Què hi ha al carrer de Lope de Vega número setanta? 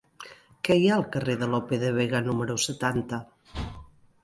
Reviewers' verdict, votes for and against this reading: accepted, 2, 0